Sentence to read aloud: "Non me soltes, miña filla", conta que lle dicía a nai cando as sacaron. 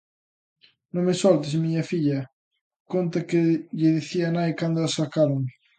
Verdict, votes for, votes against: accepted, 2, 1